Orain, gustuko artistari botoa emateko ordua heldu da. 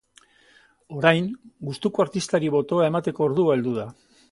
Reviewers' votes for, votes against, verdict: 3, 0, accepted